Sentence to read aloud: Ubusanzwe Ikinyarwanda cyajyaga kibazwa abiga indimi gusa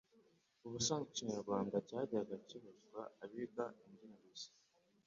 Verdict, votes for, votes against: accepted, 2, 1